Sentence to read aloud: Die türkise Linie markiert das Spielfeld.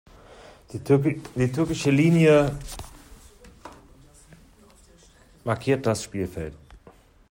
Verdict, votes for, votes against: rejected, 0, 2